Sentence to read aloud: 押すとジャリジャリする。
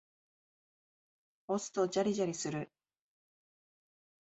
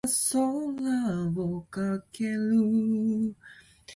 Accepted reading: first